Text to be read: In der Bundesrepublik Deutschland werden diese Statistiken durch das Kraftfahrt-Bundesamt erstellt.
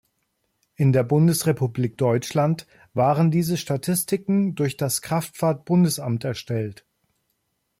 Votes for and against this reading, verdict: 0, 2, rejected